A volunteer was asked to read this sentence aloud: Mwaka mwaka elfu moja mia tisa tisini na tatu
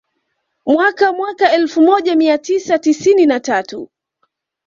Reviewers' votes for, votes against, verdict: 2, 0, accepted